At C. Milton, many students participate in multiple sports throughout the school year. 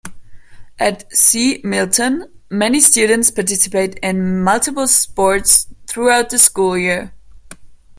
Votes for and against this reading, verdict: 2, 0, accepted